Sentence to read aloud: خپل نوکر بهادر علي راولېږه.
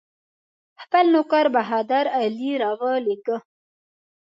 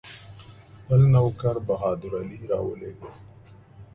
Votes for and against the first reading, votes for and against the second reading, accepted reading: 2, 0, 0, 2, first